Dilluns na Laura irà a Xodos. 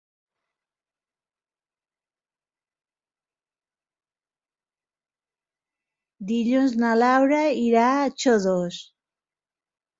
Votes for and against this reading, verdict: 3, 1, accepted